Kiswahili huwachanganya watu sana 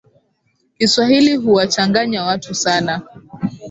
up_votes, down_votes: 2, 0